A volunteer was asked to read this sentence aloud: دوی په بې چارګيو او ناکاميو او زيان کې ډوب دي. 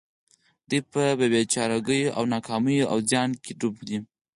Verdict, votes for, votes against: accepted, 4, 0